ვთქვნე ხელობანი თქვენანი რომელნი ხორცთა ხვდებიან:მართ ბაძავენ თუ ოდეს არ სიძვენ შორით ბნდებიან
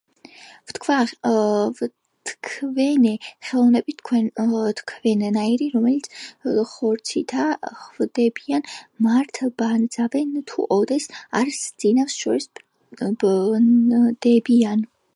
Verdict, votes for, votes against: rejected, 1, 2